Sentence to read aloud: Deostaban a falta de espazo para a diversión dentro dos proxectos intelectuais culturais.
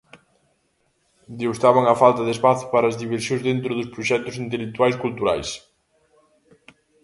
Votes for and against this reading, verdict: 0, 2, rejected